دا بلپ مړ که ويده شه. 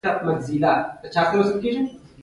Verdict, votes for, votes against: rejected, 0, 2